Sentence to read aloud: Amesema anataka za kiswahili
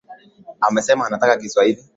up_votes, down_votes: 2, 1